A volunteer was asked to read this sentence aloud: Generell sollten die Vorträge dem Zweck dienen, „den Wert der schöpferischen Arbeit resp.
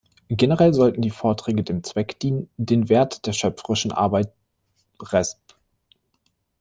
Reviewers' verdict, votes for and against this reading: rejected, 0, 2